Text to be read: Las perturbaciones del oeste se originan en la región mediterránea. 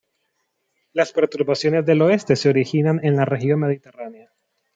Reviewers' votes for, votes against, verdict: 2, 1, accepted